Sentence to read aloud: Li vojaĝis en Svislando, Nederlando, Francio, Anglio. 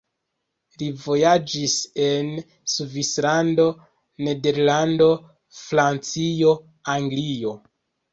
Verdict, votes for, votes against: rejected, 0, 2